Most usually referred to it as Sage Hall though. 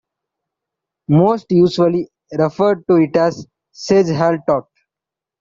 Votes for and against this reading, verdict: 1, 2, rejected